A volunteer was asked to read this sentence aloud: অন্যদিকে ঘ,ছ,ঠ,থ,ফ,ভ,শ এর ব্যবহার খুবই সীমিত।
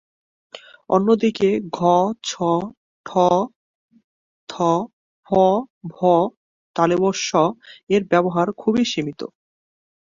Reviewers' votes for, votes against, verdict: 3, 1, accepted